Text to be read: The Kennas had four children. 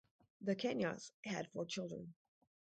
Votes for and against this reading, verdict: 0, 4, rejected